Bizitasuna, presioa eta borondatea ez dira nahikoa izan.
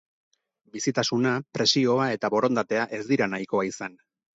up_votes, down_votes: 4, 0